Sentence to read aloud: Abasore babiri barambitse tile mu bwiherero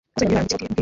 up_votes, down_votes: 0, 2